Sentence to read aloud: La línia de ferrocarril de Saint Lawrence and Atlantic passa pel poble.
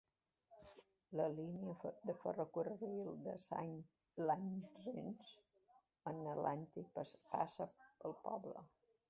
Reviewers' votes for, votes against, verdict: 1, 2, rejected